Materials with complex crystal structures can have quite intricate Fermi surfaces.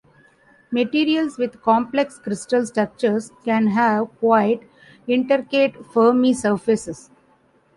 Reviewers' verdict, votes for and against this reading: rejected, 1, 2